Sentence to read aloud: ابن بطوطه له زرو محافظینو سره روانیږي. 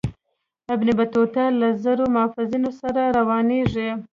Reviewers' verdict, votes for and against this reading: rejected, 1, 2